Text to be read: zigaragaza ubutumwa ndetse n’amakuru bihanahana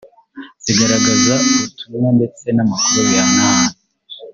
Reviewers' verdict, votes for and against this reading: rejected, 1, 2